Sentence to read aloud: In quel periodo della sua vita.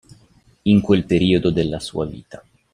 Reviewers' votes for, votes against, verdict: 2, 0, accepted